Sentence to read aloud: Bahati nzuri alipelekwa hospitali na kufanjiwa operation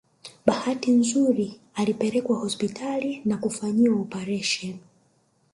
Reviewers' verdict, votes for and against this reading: rejected, 1, 3